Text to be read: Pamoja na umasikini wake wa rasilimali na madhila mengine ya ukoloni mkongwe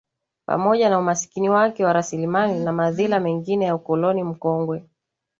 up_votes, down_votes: 2, 0